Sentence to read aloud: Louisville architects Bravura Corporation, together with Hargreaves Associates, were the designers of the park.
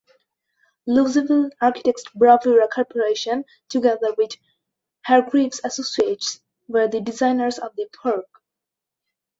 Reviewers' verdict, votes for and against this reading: rejected, 0, 2